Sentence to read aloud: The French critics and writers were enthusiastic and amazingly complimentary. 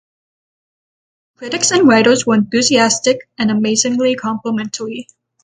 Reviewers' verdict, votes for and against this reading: rejected, 0, 6